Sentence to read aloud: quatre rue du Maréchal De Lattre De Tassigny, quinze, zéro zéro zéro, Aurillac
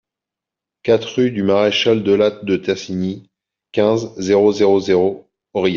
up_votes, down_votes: 1, 2